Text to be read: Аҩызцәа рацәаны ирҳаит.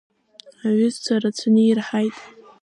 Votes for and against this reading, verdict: 2, 0, accepted